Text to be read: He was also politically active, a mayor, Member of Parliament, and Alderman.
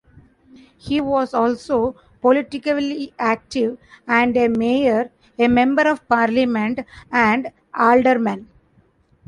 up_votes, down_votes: 0, 2